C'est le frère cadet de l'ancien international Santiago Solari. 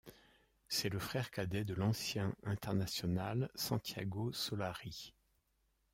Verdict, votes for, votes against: accepted, 2, 0